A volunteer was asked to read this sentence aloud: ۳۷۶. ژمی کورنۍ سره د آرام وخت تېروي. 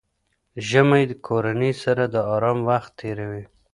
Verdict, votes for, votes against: rejected, 0, 2